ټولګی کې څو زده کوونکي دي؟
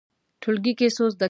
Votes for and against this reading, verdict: 0, 2, rejected